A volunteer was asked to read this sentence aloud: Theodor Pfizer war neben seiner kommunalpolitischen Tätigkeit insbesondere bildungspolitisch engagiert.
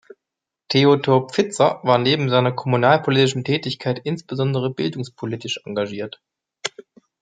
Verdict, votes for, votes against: accepted, 2, 0